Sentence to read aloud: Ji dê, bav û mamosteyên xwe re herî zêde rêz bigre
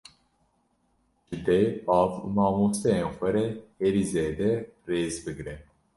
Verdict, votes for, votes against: rejected, 1, 2